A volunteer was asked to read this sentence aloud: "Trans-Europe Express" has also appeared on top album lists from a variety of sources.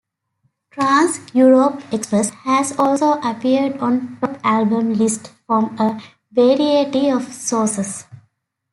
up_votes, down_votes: 1, 2